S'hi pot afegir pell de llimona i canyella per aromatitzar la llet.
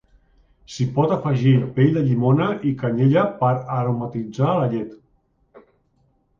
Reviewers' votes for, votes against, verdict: 3, 0, accepted